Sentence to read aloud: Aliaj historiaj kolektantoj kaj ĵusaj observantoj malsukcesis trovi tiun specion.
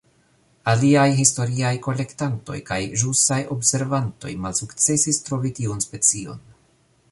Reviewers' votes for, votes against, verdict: 2, 0, accepted